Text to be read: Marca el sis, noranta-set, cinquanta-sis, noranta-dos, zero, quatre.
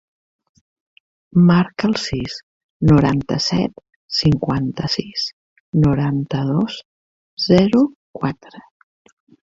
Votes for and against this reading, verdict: 4, 0, accepted